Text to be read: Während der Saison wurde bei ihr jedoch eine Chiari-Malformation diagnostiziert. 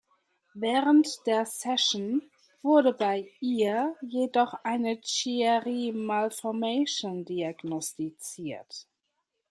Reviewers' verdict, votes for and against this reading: rejected, 0, 2